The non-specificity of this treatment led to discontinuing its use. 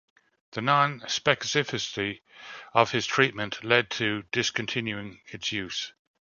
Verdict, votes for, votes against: rejected, 1, 2